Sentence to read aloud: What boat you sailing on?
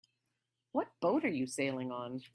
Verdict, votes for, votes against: rejected, 0, 3